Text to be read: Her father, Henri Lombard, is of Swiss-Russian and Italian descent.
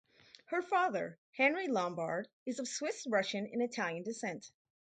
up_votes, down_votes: 2, 0